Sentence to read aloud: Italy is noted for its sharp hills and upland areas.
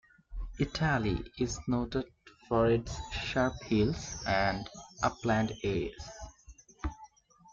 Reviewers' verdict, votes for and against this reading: accepted, 2, 0